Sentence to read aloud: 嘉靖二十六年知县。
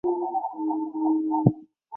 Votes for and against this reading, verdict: 0, 2, rejected